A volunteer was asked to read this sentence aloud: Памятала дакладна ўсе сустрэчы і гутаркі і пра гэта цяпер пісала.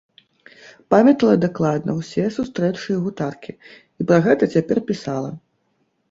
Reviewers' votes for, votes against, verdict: 0, 2, rejected